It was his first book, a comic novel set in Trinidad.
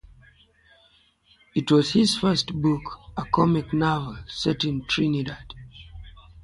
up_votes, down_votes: 3, 0